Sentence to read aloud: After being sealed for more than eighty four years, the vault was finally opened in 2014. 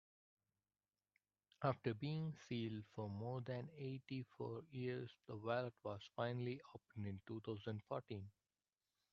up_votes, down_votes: 0, 2